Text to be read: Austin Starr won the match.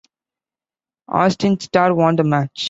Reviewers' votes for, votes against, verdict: 2, 0, accepted